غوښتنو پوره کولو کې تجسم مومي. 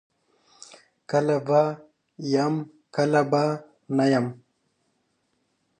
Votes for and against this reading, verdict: 0, 2, rejected